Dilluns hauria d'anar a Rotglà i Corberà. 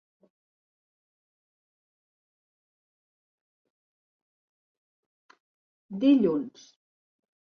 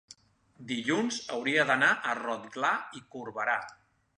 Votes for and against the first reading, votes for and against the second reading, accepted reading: 0, 2, 2, 1, second